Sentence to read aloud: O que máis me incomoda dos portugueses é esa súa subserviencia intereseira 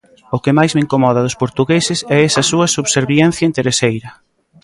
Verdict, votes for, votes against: accepted, 2, 0